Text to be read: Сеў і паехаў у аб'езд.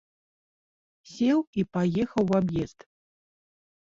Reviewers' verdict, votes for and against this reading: accepted, 2, 0